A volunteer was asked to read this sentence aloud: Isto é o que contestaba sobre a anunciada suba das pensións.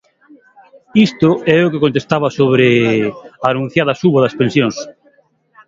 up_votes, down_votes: 0, 2